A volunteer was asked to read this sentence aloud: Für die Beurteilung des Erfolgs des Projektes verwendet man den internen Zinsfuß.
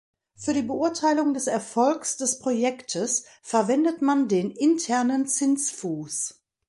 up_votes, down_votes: 2, 0